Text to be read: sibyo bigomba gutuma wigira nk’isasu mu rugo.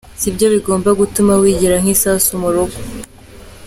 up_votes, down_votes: 2, 0